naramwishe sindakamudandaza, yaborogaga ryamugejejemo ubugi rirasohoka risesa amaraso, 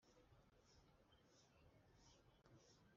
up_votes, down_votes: 1, 2